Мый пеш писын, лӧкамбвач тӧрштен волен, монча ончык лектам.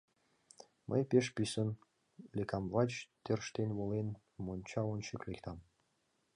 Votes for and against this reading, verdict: 1, 2, rejected